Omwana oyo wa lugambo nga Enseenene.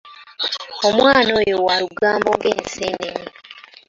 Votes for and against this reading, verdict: 2, 1, accepted